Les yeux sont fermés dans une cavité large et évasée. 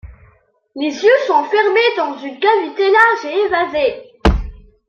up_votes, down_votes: 2, 0